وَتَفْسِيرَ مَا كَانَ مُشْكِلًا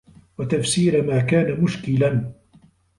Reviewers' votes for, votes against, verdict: 2, 1, accepted